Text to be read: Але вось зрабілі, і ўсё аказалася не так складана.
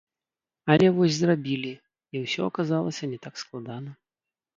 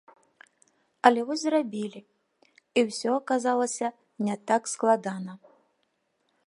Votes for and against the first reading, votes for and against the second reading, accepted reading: 1, 3, 2, 0, second